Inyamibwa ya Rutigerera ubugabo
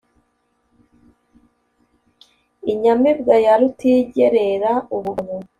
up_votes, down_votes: 1, 2